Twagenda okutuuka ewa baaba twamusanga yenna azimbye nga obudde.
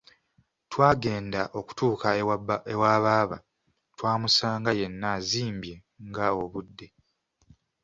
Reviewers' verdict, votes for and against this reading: accepted, 2, 0